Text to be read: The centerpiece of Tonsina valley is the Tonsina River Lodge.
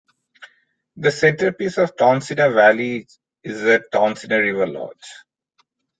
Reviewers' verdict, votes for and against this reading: rejected, 1, 2